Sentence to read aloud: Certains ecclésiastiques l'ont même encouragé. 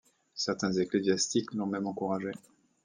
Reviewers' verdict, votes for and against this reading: accepted, 2, 0